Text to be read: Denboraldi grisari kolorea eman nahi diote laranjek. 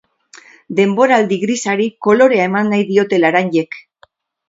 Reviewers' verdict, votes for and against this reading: accepted, 4, 0